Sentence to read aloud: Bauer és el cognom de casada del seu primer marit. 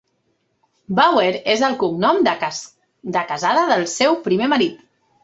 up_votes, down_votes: 0, 2